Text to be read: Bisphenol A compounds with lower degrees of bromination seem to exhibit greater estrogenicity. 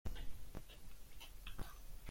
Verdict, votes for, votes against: rejected, 0, 2